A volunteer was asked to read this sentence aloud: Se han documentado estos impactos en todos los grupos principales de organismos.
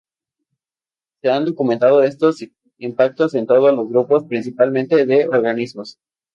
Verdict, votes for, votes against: rejected, 0, 2